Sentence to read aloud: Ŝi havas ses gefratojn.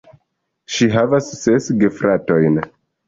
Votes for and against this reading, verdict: 2, 0, accepted